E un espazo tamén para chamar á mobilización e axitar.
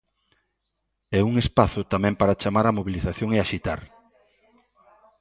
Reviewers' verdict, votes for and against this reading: accepted, 2, 0